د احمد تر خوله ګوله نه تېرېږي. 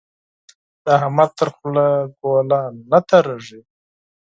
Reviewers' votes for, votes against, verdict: 4, 0, accepted